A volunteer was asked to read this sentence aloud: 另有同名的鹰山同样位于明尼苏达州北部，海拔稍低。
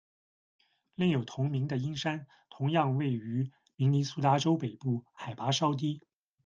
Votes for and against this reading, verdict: 2, 1, accepted